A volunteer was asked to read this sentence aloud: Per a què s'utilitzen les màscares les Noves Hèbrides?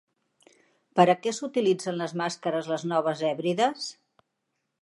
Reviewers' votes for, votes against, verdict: 3, 0, accepted